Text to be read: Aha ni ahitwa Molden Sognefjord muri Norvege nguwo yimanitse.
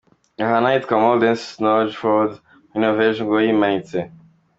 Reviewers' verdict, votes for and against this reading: accepted, 2, 1